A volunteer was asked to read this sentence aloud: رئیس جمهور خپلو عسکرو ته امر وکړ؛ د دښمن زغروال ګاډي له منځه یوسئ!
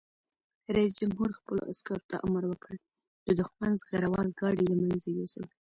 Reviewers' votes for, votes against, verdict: 0, 2, rejected